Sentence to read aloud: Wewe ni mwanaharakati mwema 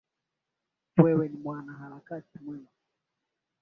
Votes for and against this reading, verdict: 7, 3, accepted